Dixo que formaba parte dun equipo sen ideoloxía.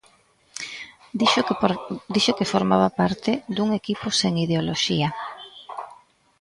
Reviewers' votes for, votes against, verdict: 0, 2, rejected